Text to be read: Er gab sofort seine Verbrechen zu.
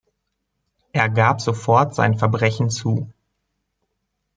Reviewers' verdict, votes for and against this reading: rejected, 0, 2